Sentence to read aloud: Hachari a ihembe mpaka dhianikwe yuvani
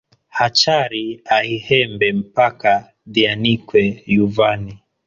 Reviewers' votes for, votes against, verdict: 1, 2, rejected